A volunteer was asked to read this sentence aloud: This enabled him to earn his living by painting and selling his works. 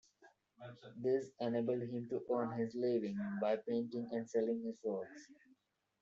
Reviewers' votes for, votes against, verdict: 1, 2, rejected